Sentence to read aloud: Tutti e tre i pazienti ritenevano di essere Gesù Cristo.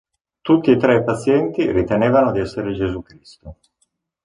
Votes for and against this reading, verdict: 2, 1, accepted